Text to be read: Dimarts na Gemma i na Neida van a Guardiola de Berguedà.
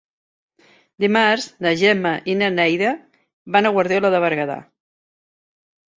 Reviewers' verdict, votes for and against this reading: accepted, 3, 0